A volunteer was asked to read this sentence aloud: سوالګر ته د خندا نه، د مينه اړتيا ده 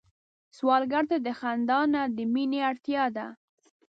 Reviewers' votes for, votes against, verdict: 2, 0, accepted